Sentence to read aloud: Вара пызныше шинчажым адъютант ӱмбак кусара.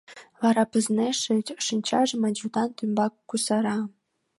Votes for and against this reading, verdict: 1, 2, rejected